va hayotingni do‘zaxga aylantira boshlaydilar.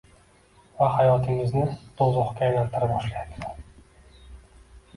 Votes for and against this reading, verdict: 1, 2, rejected